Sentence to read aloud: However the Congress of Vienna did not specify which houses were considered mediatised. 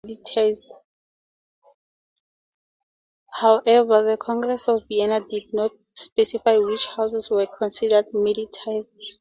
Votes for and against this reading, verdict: 0, 2, rejected